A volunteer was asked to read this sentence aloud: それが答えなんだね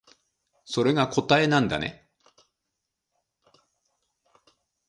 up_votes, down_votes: 2, 0